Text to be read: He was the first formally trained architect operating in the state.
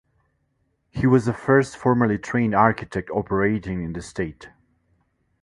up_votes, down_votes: 2, 0